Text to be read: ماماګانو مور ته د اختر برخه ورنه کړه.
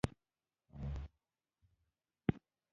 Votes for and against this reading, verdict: 1, 2, rejected